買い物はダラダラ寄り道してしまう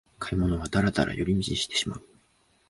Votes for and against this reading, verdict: 2, 0, accepted